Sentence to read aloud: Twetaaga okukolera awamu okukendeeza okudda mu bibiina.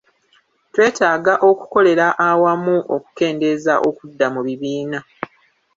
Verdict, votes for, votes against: rejected, 1, 2